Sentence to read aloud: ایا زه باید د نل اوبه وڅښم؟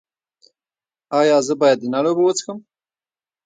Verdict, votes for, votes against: accepted, 2, 0